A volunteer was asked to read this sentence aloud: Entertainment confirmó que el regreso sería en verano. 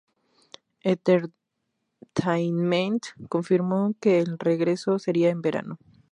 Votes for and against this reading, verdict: 0, 2, rejected